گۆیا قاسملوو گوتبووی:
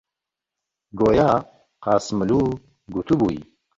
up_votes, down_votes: 2, 0